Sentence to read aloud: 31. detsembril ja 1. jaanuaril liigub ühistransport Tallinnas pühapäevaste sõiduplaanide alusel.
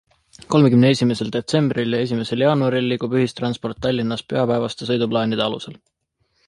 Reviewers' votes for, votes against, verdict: 0, 2, rejected